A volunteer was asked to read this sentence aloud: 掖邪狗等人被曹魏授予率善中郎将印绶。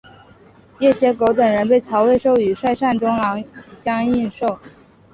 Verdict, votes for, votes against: accepted, 2, 0